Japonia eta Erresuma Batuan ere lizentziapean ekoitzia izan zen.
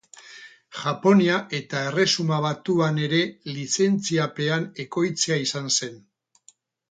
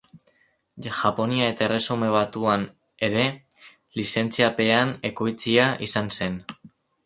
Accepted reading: second